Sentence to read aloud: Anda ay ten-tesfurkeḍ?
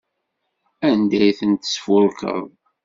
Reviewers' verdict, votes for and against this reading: accepted, 2, 0